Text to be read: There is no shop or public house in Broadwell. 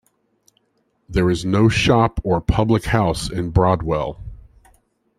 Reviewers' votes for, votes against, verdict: 2, 0, accepted